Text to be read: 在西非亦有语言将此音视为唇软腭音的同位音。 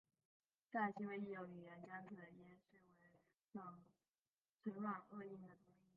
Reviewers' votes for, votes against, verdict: 0, 3, rejected